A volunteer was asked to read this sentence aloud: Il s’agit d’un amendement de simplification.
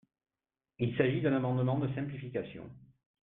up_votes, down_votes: 2, 1